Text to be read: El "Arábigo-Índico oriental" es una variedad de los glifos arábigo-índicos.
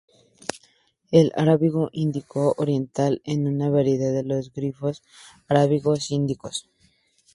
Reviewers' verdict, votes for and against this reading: accepted, 2, 0